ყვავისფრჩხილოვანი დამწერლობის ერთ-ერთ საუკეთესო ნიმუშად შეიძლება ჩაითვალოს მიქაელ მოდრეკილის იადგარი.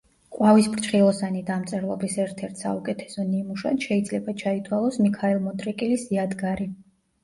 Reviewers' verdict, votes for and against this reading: rejected, 0, 2